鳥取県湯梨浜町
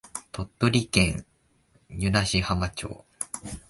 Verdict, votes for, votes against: rejected, 0, 2